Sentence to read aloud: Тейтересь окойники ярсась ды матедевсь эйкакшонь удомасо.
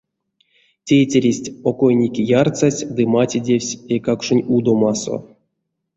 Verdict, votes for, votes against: rejected, 1, 2